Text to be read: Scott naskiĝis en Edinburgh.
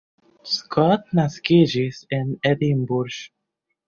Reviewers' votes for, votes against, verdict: 1, 2, rejected